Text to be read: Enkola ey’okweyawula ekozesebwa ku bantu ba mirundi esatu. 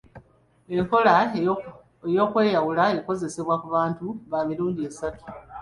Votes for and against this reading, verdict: 2, 0, accepted